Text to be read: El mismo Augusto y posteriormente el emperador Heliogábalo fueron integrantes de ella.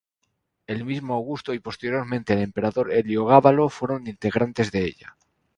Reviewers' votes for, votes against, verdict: 2, 0, accepted